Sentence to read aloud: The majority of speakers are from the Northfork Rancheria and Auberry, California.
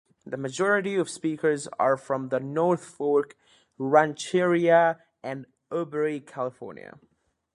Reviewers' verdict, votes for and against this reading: accepted, 2, 0